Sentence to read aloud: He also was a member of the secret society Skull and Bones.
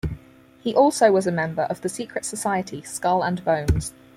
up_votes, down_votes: 2, 4